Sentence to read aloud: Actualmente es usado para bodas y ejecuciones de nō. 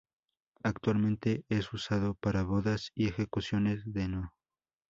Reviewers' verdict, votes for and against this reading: accepted, 2, 0